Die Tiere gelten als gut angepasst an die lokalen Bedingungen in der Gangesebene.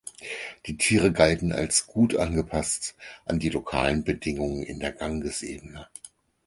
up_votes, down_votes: 0, 4